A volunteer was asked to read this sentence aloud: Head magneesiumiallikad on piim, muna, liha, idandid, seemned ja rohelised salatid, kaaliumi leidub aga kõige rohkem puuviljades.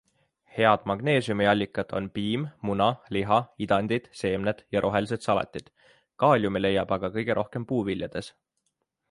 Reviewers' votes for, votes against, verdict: 3, 0, accepted